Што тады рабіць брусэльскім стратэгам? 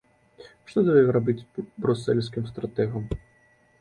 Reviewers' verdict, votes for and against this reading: rejected, 1, 2